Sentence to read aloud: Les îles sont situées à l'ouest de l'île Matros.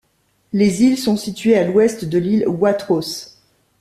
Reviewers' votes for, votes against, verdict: 0, 2, rejected